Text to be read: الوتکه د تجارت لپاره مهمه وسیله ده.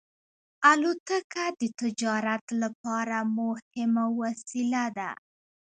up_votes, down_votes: 1, 2